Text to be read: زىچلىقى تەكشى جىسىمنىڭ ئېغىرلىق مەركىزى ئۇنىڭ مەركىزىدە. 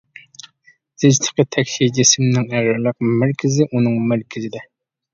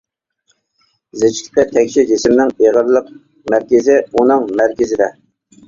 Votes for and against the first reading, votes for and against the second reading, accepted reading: 0, 2, 2, 1, second